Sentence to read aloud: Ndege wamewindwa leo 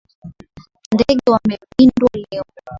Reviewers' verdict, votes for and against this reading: rejected, 0, 2